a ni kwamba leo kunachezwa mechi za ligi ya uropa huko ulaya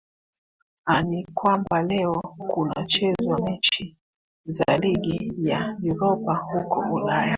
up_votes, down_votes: 2, 1